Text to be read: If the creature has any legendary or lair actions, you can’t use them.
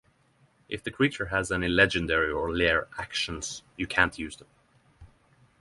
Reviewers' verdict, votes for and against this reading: rejected, 3, 3